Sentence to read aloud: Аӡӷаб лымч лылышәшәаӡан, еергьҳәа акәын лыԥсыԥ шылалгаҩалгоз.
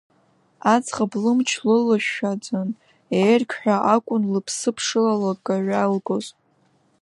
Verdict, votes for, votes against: rejected, 1, 2